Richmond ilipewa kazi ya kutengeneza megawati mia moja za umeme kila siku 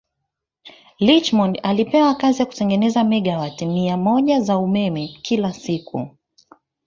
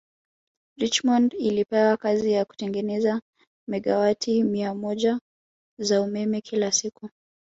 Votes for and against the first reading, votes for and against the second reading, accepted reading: 1, 2, 3, 2, second